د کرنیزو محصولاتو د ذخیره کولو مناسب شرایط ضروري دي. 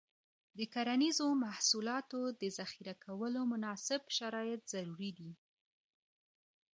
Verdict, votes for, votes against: accepted, 2, 1